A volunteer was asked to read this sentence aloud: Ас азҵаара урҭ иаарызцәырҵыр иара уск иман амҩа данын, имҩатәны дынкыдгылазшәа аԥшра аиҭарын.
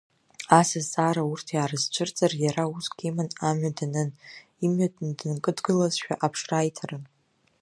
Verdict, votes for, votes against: accepted, 2, 0